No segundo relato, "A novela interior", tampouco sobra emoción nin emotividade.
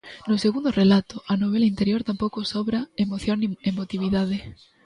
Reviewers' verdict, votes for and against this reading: accepted, 2, 0